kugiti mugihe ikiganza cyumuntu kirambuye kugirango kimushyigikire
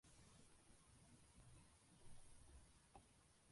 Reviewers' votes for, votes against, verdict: 0, 2, rejected